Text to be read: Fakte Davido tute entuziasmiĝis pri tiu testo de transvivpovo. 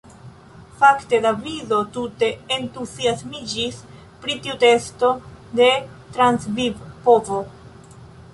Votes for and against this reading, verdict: 2, 0, accepted